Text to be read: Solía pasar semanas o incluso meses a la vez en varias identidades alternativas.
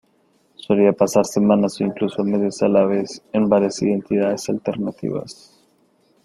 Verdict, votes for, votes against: rejected, 1, 2